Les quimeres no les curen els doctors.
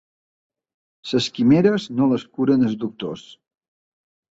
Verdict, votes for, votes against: rejected, 2, 3